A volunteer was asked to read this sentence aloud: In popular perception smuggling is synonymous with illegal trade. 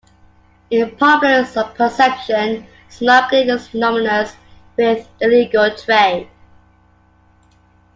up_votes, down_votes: 1, 2